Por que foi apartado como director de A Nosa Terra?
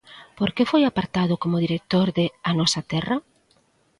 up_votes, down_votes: 2, 0